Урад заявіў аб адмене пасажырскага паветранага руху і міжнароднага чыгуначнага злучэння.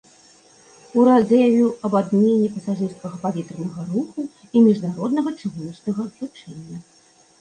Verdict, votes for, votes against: accepted, 2, 0